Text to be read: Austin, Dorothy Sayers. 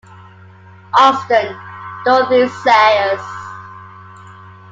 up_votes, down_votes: 2, 1